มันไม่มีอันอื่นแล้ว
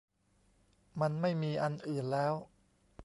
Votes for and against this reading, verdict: 2, 0, accepted